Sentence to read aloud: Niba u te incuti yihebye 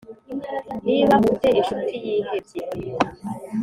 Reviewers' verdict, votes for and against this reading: accepted, 2, 0